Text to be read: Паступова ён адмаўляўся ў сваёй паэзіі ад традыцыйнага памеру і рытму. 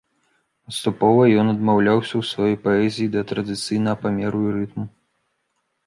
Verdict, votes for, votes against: rejected, 0, 2